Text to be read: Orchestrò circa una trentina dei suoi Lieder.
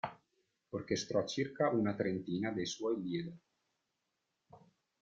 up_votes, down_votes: 0, 2